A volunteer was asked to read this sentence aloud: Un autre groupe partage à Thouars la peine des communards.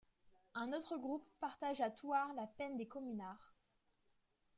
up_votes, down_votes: 2, 0